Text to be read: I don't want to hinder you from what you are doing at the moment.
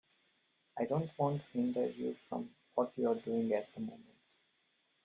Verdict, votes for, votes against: rejected, 0, 2